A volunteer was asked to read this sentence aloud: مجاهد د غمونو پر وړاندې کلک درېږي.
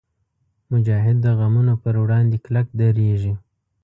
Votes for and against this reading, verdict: 2, 0, accepted